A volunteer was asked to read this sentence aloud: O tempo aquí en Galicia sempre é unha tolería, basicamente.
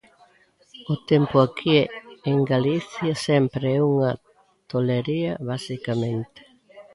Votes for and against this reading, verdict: 0, 2, rejected